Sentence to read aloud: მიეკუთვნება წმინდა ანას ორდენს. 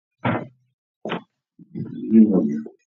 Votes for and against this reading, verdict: 0, 2, rejected